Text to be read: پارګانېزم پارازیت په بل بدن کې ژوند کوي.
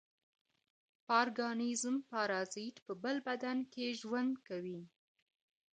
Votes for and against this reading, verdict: 2, 0, accepted